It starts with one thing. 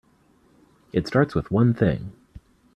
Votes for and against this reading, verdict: 2, 0, accepted